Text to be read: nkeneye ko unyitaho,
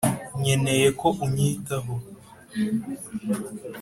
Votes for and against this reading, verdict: 4, 0, accepted